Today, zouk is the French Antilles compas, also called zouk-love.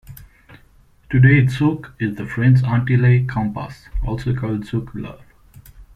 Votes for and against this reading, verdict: 2, 0, accepted